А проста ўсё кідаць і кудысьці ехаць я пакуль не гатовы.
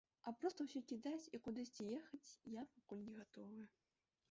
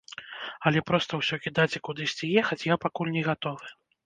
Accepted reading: first